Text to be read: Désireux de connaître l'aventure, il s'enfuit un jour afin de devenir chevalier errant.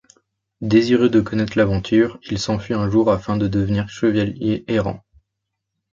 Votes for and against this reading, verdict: 1, 2, rejected